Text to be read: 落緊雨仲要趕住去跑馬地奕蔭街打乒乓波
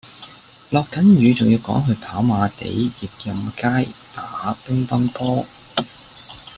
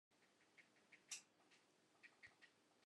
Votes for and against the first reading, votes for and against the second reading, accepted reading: 2, 0, 0, 2, first